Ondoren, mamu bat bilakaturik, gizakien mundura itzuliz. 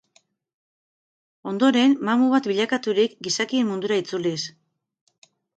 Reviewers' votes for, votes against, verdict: 4, 0, accepted